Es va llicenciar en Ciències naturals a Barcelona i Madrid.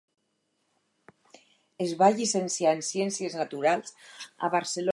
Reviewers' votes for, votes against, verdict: 0, 4, rejected